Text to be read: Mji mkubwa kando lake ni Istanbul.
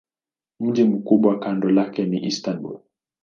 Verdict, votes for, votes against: accepted, 4, 1